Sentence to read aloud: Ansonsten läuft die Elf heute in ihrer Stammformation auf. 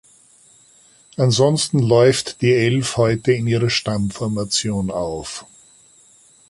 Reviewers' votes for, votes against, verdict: 2, 0, accepted